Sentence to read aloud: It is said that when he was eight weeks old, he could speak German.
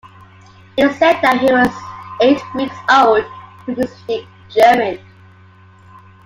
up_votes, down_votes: 2, 0